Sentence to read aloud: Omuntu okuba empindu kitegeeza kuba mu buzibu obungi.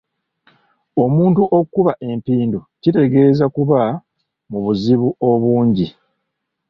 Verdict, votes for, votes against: accepted, 2, 0